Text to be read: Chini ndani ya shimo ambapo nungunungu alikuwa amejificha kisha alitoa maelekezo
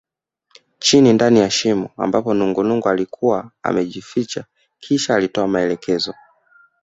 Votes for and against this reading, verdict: 2, 0, accepted